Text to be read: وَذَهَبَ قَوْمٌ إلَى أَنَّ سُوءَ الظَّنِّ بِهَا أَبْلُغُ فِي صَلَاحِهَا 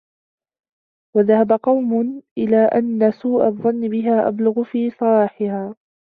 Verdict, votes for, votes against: accepted, 2, 1